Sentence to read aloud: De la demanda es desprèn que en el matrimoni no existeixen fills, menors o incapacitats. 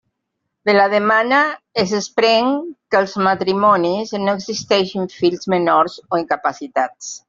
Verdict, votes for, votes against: rejected, 0, 2